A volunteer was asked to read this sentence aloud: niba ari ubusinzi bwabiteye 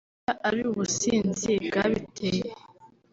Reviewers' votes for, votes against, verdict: 1, 2, rejected